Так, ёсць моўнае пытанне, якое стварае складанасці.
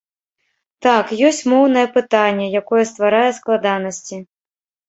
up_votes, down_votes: 2, 0